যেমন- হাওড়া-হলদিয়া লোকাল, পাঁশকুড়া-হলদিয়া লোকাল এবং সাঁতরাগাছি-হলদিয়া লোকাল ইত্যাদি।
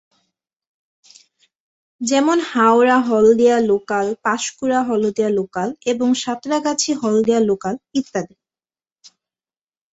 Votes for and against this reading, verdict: 2, 0, accepted